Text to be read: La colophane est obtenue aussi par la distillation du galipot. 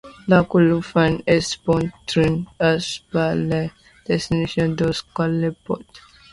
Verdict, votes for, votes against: rejected, 0, 2